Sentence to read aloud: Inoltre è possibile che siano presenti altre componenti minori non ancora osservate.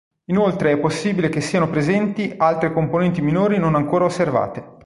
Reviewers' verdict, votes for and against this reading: accepted, 3, 0